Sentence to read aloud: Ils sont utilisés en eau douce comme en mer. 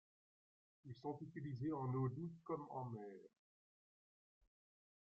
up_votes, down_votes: 1, 2